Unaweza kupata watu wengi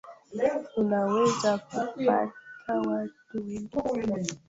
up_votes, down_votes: 0, 2